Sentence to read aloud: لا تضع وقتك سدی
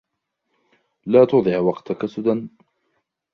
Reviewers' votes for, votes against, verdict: 2, 0, accepted